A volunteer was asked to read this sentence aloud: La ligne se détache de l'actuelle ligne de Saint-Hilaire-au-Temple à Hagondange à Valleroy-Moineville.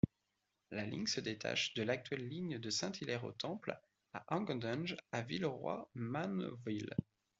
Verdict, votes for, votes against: rejected, 0, 2